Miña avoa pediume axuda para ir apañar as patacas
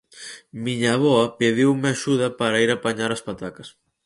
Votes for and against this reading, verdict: 4, 0, accepted